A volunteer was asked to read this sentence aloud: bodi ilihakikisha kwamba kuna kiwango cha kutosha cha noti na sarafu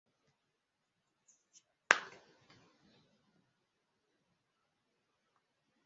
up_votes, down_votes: 0, 7